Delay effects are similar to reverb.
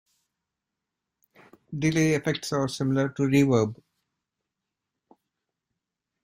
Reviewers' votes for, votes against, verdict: 2, 0, accepted